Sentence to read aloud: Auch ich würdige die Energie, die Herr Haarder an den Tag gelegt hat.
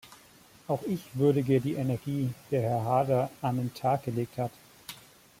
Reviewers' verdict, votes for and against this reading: accepted, 2, 1